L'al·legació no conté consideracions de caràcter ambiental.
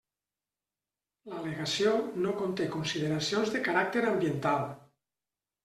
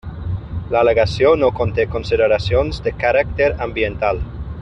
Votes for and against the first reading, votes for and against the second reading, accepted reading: 2, 0, 0, 3, first